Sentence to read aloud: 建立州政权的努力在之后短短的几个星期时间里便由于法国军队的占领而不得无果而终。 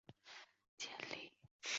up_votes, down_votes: 0, 3